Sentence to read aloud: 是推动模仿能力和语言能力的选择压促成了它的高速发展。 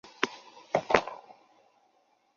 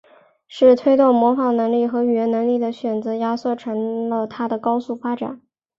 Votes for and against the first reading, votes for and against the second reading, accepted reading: 0, 2, 4, 1, second